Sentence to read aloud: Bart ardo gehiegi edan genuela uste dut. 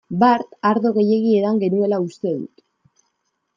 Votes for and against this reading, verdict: 2, 0, accepted